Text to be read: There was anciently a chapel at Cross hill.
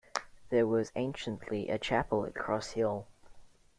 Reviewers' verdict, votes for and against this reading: accepted, 2, 0